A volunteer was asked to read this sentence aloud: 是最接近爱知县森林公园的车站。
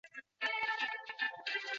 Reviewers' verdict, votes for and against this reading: rejected, 0, 3